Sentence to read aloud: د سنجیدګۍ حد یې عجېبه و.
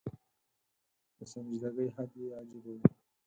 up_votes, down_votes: 2, 4